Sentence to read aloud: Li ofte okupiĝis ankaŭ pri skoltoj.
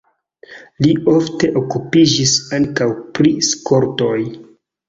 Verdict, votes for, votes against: rejected, 0, 2